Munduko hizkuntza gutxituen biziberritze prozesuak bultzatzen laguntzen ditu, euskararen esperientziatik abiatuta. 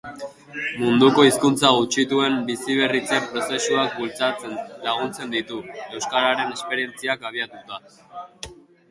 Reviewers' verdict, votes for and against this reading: rejected, 0, 2